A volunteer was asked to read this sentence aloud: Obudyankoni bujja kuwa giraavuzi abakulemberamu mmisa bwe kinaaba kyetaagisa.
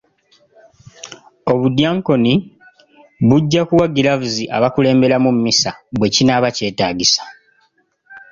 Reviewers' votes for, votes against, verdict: 3, 0, accepted